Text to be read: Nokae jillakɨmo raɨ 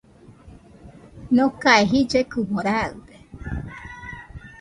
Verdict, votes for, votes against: rejected, 0, 2